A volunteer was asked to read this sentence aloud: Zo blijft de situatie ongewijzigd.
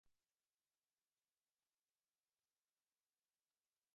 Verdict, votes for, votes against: rejected, 0, 2